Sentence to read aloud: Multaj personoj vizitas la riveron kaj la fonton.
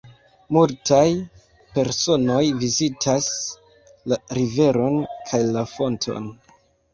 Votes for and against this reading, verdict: 2, 1, accepted